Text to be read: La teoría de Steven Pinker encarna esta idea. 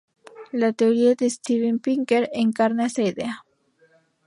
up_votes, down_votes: 0, 2